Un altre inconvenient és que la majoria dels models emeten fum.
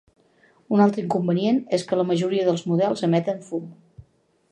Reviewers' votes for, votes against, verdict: 3, 0, accepted